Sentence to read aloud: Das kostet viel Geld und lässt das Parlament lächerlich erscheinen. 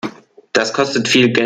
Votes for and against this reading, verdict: 0, 2, rejected